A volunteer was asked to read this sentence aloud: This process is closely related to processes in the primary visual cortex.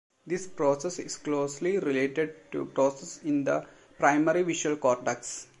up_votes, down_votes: 1, 2